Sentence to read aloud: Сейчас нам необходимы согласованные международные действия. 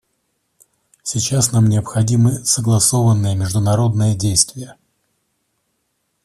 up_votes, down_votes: 2, 0